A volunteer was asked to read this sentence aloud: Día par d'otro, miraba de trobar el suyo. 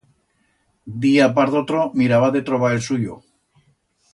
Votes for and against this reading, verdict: 2, 0, accepted